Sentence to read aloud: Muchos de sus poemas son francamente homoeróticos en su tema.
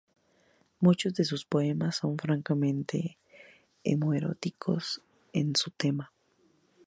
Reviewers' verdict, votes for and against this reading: accepted, 2, 0